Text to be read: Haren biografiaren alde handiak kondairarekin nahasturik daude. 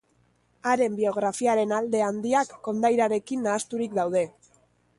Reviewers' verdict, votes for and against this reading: accepted, 2, 0